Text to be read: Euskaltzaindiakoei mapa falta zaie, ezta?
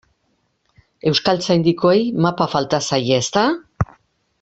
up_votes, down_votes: 1, 2